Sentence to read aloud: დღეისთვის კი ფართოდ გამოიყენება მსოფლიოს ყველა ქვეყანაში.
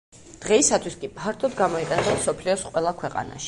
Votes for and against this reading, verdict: 1, 2, rejected